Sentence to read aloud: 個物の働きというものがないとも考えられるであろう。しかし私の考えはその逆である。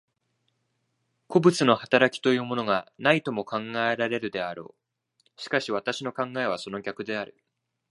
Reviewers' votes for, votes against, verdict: 2, 0, accepted